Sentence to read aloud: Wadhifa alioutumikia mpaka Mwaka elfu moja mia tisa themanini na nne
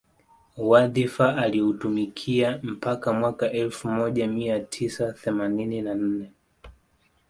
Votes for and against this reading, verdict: 2, 0, accepted